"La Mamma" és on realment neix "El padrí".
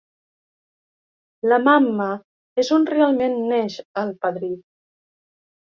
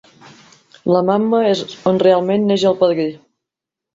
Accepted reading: first